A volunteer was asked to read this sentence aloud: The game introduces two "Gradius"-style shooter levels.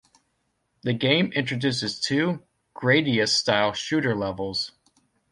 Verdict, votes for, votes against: accepted, 2, 0